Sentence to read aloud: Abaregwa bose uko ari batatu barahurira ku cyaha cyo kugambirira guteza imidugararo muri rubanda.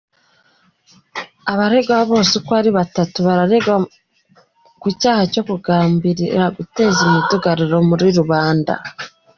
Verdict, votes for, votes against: rejected, 0, 3